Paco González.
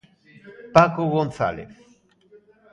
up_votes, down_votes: 2, 0